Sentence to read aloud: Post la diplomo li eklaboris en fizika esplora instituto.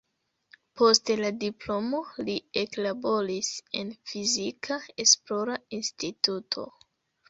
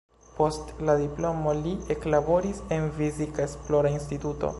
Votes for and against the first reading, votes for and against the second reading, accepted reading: 1, 2, 2, 0, second